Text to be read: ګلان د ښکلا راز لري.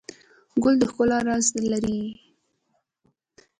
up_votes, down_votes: 1, 2